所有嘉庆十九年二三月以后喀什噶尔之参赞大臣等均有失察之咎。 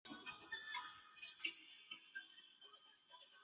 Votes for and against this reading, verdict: 2, 0, accepted